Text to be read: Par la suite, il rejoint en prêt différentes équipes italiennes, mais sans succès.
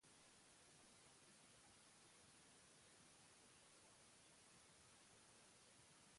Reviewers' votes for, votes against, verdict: 0, 2, rejected